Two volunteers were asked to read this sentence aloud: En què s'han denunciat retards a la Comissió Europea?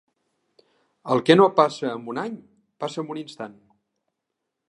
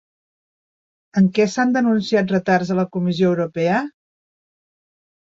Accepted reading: second